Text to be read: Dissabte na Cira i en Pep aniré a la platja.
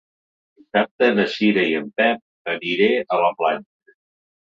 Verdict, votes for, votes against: rejected, 1, 2